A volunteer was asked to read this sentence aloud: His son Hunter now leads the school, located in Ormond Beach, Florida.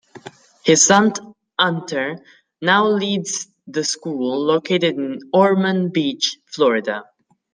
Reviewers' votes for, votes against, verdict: 2, 0, accepted